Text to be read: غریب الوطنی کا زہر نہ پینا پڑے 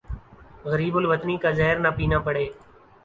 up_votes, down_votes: 3, 1